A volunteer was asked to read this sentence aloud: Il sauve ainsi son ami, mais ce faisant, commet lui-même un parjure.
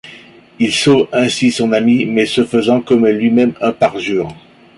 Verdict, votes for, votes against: accepted, 2, 0